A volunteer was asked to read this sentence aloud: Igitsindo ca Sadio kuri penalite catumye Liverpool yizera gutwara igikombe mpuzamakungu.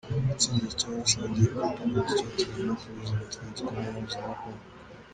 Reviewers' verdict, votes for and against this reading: rejected, 1, 2